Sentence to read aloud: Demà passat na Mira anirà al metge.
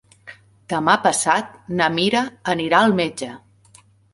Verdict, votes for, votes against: accepted, 4, 0